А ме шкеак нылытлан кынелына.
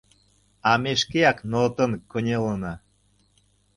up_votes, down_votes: 0, 2